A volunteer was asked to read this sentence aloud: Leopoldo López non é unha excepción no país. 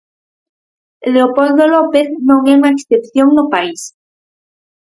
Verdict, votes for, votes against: accepted, 4, 0